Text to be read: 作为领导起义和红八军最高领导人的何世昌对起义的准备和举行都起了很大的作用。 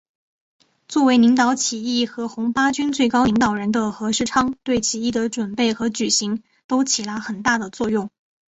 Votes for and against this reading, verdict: 2, 0, accepted